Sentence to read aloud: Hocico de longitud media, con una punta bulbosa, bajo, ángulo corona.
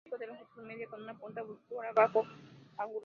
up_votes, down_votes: 0, 2